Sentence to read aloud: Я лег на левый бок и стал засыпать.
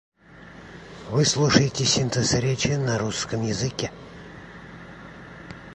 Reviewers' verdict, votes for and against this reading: rejected, 0, 2